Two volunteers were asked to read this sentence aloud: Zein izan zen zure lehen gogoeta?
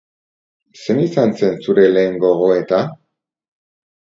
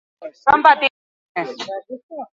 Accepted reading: first